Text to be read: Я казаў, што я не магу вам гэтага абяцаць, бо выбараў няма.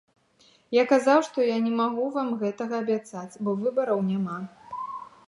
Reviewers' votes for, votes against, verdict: 2, 0, accepted